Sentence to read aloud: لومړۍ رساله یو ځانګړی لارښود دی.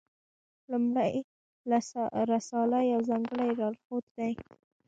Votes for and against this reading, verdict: 2, 1, accepted